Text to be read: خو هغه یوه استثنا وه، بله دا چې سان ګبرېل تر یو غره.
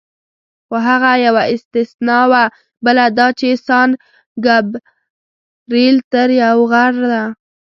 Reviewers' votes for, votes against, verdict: 1, 2, rejected